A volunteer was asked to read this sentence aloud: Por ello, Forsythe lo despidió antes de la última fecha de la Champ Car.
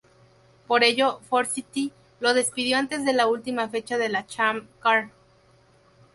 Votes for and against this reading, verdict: 2, 2, rejected